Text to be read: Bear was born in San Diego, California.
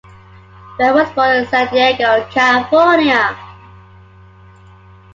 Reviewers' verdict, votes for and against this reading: accepted, 2, 0